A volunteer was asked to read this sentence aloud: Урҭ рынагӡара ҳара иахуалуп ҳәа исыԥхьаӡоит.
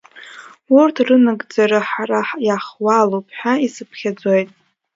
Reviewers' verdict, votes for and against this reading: accepted, 2, 1